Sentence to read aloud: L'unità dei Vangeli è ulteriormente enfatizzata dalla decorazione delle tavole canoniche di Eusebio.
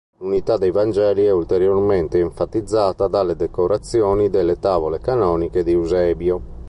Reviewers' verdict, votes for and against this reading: rejected, 1, 2